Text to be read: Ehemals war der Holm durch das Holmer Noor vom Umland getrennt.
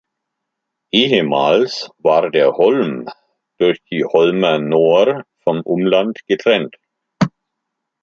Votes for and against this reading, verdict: 1, 2, rejected